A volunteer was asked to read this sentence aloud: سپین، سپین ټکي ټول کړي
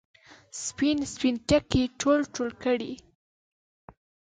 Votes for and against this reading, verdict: 2, 3, rejected